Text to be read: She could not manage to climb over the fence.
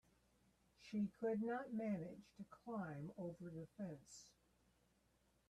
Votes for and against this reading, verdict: 2, 1, accepted